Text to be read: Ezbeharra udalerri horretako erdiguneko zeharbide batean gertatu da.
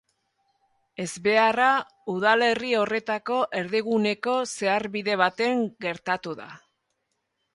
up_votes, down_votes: 0, 2